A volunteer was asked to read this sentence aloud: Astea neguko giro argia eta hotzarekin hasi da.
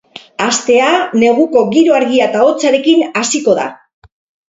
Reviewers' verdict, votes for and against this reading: rejected, 0, 4